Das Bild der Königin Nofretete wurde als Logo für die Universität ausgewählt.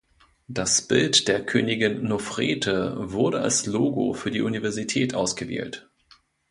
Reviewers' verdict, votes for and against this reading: rejected, 0, 2